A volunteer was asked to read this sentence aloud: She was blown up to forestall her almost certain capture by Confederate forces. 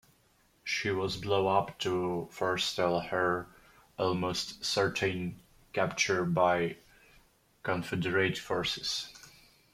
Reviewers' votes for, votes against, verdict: 2, 0, accepted